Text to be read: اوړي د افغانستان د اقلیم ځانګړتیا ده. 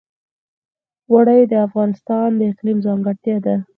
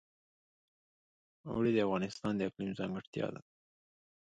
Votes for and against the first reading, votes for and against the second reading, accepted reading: 2, 4, 2, 0, second